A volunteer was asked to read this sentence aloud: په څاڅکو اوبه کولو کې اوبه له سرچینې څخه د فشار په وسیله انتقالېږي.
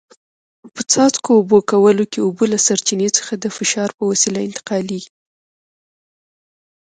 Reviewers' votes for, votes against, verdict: 1, 2, rejected